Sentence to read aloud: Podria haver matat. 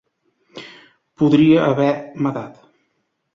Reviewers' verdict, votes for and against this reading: accepted, 3, 0